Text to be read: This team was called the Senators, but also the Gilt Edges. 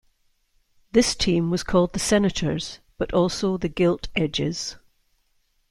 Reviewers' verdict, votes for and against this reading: accepted, 2, 0